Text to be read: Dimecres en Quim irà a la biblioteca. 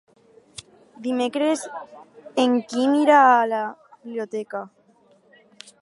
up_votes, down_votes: 4, 2